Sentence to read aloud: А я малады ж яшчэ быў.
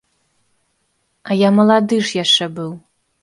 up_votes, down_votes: 2, 0